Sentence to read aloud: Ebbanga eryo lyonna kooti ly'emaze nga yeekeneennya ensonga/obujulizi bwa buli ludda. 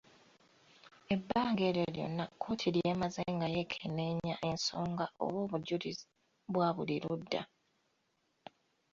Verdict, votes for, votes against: accepted, 2, 1